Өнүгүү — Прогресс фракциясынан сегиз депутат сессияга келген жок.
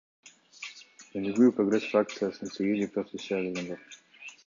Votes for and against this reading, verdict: 2, 0, accepted